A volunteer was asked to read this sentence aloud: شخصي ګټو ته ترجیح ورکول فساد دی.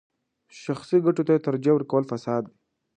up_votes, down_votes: 2, 0